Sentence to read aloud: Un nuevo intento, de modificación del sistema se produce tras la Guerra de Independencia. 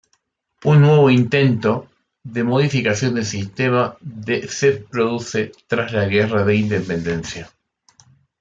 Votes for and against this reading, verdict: 0, 2, rejected